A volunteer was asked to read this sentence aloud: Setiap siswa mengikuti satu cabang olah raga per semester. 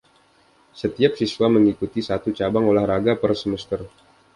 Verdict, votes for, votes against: accepted, 2, 0